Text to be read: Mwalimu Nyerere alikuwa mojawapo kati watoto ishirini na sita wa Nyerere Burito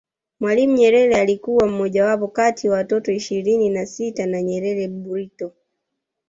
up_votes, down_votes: 2, 1